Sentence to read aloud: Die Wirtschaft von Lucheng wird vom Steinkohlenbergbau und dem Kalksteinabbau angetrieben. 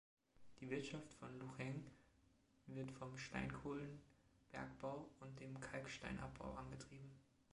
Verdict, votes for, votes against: accepted, 2, 0